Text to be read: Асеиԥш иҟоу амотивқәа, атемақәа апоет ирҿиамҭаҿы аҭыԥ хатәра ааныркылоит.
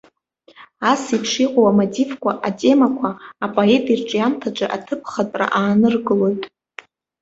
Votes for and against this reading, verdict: 1, 2, rejected